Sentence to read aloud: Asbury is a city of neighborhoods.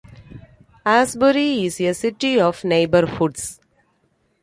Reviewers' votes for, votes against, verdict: 2, 0, accepted